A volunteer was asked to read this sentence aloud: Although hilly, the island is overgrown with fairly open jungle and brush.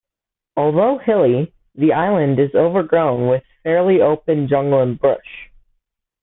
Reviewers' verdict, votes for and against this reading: rejected, 1, 2